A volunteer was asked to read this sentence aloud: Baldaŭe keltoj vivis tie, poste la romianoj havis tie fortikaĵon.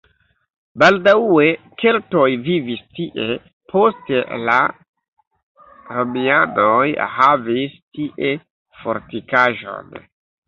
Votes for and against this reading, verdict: 0, 2, rejected